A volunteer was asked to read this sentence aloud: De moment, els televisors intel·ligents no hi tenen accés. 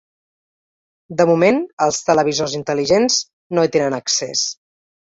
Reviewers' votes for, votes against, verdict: 2, 0, accepted